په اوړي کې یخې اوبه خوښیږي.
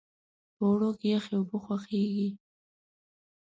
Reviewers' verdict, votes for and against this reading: rejected, 2, 3